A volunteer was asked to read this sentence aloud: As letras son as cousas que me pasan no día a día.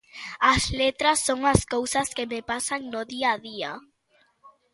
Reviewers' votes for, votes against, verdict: 2, 0, accepted